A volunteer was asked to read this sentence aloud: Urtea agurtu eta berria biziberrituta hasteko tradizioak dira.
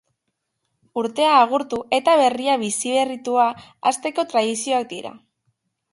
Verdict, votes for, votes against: rejected, 1, 2